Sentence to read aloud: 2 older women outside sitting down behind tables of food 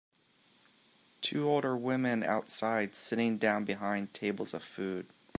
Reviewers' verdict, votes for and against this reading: rejected, 0, 2